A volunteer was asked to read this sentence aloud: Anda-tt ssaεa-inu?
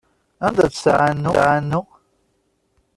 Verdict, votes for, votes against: rejected, 0, 2